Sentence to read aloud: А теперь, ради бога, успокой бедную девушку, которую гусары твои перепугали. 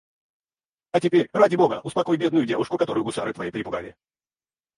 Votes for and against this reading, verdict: 0, 2, rejected